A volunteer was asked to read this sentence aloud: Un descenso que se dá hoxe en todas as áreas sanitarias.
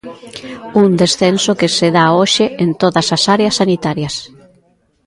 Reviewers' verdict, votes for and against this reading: accepted, 2, 0